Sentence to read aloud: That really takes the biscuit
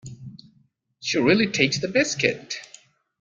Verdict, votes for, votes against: rejected, 0, 2